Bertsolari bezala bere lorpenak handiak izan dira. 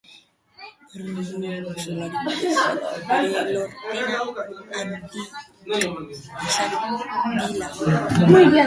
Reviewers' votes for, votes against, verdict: 0, 4, rejected